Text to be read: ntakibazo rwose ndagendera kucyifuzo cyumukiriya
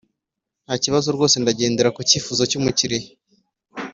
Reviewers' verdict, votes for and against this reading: accepted, 2, 0